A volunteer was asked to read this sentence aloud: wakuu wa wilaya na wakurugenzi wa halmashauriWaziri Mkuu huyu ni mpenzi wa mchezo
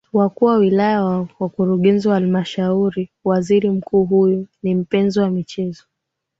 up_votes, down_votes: 3, 0